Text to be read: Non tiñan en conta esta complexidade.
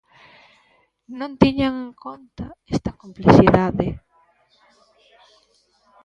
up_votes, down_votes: 0, 2